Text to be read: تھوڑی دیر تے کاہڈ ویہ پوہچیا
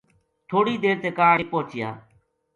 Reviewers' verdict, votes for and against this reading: accepted, 2, 0